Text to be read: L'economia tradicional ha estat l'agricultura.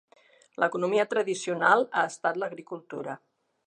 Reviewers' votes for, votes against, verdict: 3, 0, accepted